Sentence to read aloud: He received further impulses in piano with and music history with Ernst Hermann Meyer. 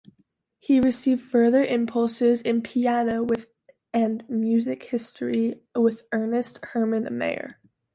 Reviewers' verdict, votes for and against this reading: rejected, 0, 2